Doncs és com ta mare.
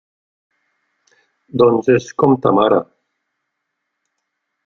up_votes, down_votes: 3, 0